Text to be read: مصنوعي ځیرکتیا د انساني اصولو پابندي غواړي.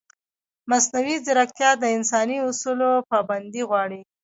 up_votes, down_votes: 2, 1